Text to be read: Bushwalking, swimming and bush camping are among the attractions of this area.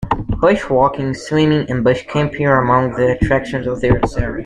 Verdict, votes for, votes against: accepted, 2, 1